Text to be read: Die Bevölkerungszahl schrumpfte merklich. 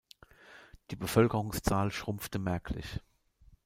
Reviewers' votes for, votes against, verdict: 2, 0, accepted